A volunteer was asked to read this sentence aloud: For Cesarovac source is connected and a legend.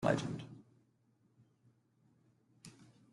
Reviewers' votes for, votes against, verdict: 0, 2, rejected